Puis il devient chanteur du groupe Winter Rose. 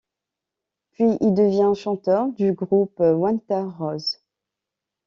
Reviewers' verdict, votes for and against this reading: rejected, 1, 2